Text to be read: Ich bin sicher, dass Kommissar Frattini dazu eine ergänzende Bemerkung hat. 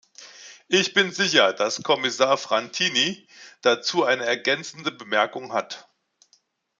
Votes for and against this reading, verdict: 0, 2, rejected